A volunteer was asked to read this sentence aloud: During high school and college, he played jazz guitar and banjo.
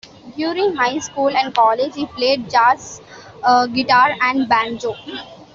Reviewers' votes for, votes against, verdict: 2, 0, accepted